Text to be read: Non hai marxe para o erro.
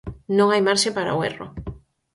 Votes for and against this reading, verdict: 4, 0, accepted